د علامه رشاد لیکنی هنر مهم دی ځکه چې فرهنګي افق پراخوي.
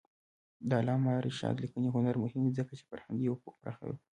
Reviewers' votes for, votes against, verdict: 2, 0, accepted